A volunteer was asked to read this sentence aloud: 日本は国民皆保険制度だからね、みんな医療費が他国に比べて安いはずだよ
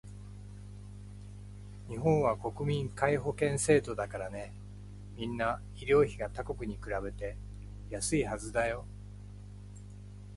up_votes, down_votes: 2, 0